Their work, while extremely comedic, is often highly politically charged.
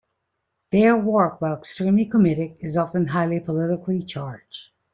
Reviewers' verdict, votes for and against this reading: accepted, 2, 0